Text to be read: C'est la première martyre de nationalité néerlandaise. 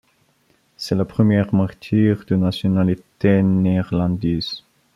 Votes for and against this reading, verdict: 2, 1, accepted